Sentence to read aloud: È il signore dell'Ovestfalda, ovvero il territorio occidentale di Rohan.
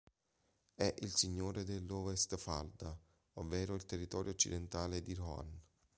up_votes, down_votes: 2, 1